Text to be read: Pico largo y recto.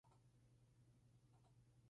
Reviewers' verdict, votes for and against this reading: rejected, 0, 2